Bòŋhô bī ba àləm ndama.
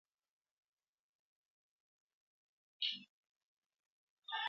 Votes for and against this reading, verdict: 0, 2, rejected